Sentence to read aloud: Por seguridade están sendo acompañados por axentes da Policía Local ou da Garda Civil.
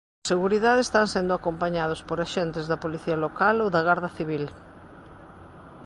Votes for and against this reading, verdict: 1, 2, rejected